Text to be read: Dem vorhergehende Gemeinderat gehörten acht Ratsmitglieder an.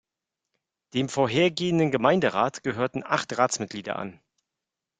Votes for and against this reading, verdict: 2, 0, accepted